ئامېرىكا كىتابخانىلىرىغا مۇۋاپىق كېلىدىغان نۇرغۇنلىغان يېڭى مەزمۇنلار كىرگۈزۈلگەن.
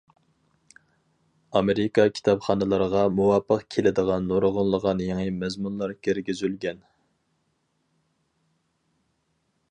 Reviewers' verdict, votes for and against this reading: accepted, 4, 0